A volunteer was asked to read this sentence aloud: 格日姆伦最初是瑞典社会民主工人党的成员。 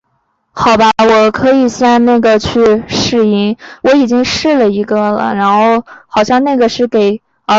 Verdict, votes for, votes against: rejected, 0, 2